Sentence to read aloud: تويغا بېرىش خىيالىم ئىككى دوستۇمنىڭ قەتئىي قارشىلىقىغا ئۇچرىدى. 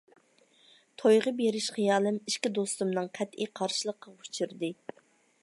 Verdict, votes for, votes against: accepted, 3, 0